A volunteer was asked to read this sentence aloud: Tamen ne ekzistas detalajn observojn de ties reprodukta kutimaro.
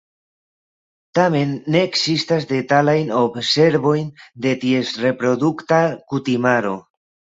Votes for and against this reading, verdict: 2, 1, accepted